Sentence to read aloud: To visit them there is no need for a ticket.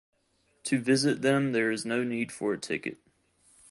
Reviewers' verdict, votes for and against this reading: accepted, 4, 0